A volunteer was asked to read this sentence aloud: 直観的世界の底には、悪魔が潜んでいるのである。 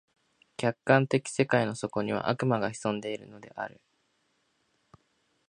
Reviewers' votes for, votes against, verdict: 1, 3, rejected